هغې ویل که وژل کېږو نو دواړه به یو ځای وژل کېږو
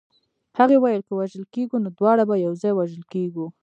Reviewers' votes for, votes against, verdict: 2, 0, accepted